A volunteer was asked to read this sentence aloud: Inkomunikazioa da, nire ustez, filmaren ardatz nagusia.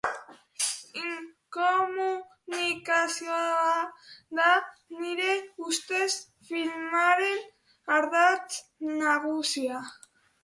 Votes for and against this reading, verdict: 2, 2, rejected